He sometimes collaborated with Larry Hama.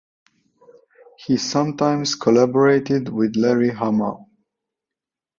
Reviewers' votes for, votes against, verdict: 2, 0, accepted